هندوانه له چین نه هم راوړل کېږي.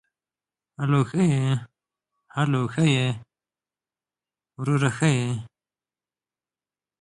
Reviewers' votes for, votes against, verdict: 1, 4, rejected